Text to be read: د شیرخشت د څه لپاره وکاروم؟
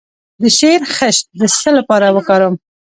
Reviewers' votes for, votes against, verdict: 1, 2, rejected